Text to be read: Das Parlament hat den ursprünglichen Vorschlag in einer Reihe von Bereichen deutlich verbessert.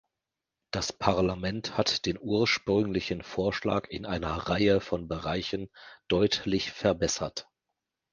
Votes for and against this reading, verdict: 2, 0, accepted